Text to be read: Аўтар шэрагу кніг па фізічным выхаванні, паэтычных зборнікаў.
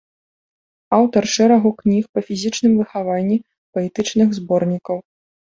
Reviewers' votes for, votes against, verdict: 2, 0, accepted